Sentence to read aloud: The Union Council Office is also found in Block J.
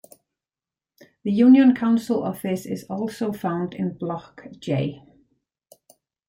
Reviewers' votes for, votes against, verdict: 2, 1, accepted